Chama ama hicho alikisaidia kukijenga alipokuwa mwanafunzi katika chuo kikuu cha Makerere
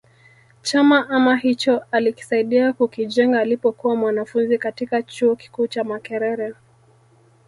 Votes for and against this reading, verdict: 0, 2, rejected